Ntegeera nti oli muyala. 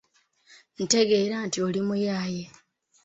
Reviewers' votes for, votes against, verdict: 0, 2, rejected